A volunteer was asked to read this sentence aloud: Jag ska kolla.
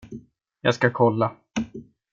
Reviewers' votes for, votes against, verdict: 2, 0, accepted